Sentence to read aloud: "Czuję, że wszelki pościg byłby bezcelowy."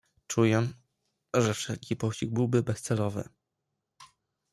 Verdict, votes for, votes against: rejected, 0, 2